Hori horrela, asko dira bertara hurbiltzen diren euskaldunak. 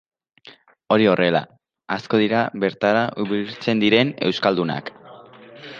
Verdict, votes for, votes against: rejected, 0, 2